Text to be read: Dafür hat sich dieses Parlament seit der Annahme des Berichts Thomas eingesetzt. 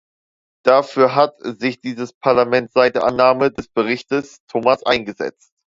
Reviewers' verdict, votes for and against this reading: rejected, 1, 2